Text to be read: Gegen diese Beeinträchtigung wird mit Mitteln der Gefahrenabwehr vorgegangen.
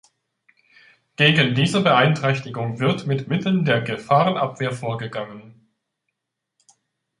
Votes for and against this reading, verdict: 2, 0, accepted